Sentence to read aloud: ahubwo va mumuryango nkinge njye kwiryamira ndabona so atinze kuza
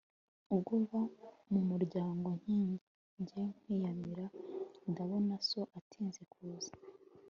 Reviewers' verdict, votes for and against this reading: rejected, 0, 2